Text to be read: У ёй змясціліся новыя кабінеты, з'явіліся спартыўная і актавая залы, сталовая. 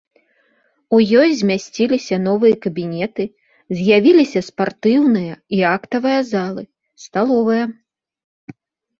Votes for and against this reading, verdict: 2, 0, accepted